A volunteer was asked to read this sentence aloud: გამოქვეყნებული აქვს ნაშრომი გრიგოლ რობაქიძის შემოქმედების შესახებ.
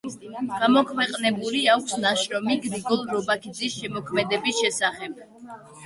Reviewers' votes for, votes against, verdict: 1, 2, rejected